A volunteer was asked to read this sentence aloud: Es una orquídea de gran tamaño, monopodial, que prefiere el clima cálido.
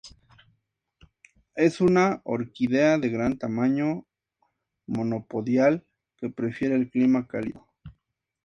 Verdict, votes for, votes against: accepted, 2, 0